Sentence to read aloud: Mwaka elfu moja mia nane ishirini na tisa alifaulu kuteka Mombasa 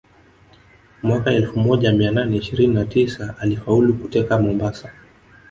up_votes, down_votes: 8, 0